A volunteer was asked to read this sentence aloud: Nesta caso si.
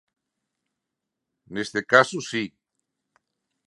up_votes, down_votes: 0, 2